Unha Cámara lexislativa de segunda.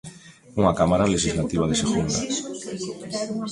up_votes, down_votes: 0, 2